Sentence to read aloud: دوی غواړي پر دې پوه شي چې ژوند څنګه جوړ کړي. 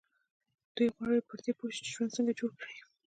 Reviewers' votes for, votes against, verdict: 2, 1, accepted